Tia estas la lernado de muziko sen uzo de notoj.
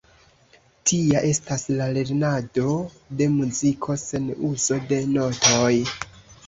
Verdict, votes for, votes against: accepted, 3, 2